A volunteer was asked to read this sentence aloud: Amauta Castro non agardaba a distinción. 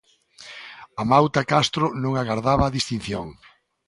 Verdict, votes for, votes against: accepted, 2, 0